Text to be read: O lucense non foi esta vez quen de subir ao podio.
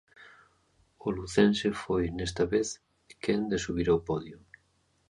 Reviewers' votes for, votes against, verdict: 0, 2, rejected